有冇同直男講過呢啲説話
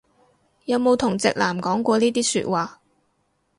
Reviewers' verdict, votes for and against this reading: accepted, 2, 0